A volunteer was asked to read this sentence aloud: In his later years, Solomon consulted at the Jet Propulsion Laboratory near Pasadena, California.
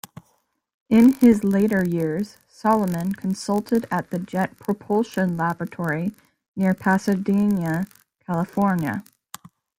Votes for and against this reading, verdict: 0, 2, rejected